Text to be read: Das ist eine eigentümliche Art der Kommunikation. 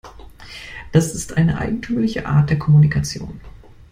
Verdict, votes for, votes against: accepted, 2, 0